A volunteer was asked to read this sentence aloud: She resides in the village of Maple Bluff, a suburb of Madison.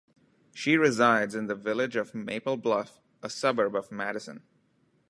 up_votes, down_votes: 2, 1